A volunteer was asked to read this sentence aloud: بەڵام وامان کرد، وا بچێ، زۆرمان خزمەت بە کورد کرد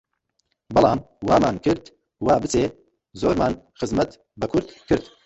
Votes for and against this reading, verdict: 2, 0, accepted